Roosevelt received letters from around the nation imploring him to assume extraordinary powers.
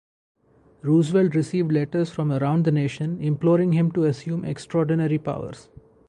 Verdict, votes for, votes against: rejected, 2, 2